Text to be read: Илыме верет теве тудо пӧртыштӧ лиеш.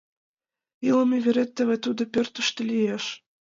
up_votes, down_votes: 3, 2